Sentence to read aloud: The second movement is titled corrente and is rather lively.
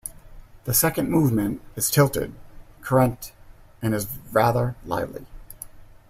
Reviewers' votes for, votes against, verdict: 0, 2, rejected